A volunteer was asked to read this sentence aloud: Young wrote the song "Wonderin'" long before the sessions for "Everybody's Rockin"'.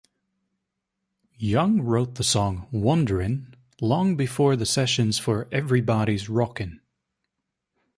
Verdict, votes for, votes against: accepted, 2, 0